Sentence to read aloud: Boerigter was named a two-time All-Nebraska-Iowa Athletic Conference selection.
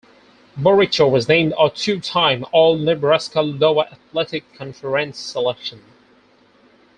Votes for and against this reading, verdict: 0, 4, rejected